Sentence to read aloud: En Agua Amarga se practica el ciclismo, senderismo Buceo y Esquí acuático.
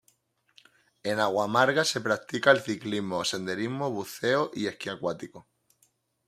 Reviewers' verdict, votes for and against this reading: accepted, 2, 0